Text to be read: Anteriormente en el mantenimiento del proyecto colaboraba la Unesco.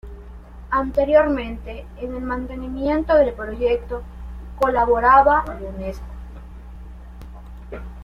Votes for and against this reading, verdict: 1, 2, rejected